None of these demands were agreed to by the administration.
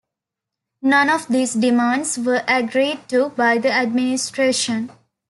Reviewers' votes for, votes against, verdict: 2, 0, accepted